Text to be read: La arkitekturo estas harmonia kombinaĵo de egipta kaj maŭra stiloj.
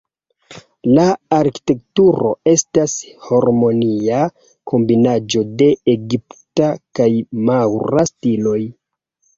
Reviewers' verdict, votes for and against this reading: rejected, 0, 2